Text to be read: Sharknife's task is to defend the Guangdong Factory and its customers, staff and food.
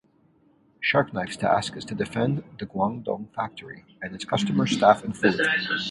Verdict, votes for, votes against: rejected, 0, 2